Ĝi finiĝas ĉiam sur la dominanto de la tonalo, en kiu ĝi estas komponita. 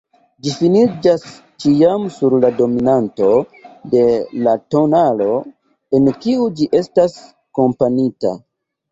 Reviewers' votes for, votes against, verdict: 0, 2, rejected